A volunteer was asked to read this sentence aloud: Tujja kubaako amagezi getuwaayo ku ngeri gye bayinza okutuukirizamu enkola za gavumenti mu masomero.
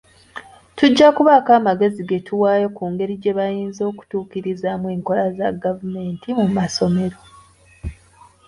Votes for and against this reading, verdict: 2, 1, accepted